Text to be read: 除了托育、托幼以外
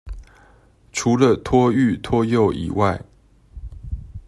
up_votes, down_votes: 2, 0